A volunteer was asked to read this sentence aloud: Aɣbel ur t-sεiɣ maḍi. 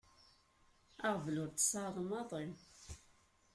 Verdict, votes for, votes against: rejected, 1, 2